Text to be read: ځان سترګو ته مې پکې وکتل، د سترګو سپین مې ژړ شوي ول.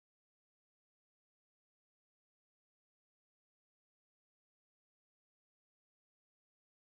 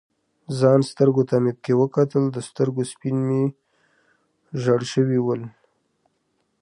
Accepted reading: second